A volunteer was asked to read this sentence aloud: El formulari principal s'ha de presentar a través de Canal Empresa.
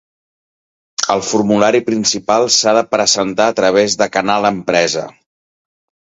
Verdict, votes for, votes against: accepted, 2, 1